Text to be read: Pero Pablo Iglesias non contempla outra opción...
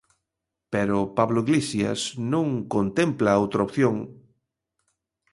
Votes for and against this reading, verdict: 1, 2, rejected